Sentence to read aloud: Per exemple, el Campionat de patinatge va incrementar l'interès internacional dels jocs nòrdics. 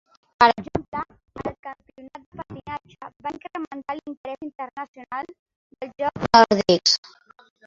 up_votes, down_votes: 0, 2